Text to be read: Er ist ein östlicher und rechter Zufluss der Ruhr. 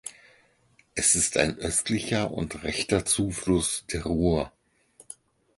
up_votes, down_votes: 2, 4